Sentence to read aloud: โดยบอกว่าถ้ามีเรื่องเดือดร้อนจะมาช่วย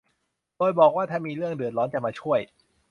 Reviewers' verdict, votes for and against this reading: accepted, 2, 0